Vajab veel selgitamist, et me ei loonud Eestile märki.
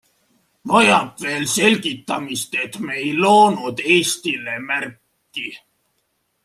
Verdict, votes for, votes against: accepted, 2, 0